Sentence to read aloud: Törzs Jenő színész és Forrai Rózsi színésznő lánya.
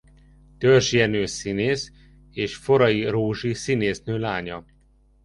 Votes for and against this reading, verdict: 2, 0, accepted